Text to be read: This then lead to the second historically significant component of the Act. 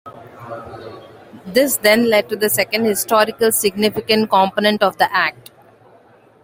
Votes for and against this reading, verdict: 2, 0, accepted